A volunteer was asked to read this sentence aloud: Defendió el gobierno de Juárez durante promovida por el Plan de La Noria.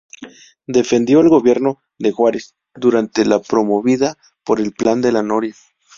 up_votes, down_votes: 0, 2